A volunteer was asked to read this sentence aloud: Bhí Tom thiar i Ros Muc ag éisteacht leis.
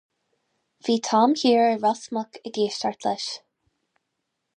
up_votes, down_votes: 4, 0